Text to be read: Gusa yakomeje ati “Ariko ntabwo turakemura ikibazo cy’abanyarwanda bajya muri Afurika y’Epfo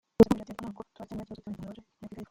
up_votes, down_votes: 0, 2